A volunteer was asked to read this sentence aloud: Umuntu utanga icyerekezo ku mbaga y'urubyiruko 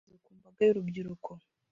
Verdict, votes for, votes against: rejected, 0, 2